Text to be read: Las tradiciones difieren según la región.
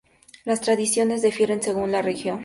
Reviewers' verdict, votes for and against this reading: rejected, 0, 2